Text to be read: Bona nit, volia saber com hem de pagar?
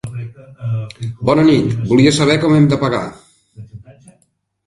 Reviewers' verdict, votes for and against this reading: rejected, 1, 2